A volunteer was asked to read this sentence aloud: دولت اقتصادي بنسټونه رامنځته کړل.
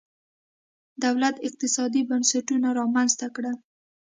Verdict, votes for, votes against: accepted, 2, 0